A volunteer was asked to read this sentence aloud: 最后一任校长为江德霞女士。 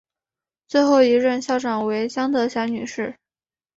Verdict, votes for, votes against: accepted, 2, 0